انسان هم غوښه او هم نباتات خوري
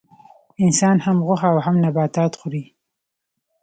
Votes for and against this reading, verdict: 2, 0, accepted